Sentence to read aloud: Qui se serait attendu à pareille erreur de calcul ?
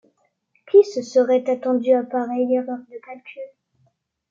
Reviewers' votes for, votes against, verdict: 2, 0, accepted